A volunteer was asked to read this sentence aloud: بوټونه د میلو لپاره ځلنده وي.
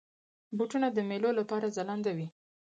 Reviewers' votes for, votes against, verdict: 4, 0, accepted